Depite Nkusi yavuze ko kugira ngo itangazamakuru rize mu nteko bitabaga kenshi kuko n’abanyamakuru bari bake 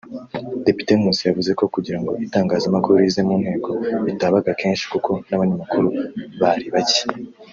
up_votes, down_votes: 1, 2